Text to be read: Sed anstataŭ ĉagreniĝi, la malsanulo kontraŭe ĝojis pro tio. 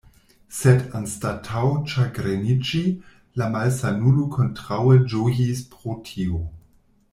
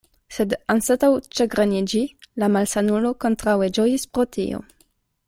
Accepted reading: second